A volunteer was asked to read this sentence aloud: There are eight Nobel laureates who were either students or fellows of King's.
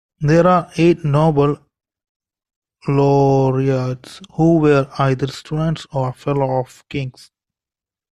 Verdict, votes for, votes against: rejected, 2, 3